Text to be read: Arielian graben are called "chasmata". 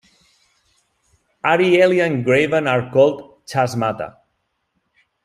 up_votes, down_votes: 2, 0